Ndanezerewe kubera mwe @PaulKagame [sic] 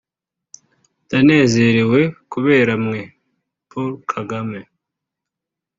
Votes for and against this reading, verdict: 2, 0, accepted